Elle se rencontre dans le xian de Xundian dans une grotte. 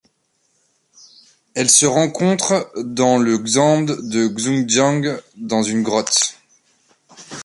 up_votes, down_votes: 1, 2